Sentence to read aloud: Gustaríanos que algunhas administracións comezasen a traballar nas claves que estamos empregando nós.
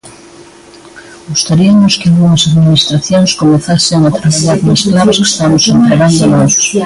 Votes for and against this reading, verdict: 0, 2, rejected